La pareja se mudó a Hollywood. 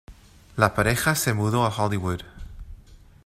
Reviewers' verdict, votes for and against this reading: accepted, 2, 0